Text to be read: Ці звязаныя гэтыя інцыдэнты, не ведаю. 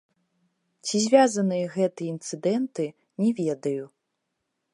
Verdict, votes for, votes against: rejected, 1, 2